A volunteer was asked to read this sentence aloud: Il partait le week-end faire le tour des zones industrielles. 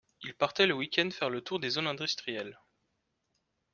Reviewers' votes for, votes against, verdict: 1, 2, rejected